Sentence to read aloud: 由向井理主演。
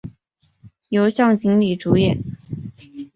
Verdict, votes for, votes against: accepted, 2, 0